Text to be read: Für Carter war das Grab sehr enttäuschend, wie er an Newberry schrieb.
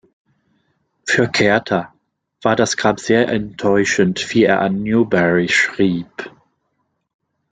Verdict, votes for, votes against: rejected, 0, 2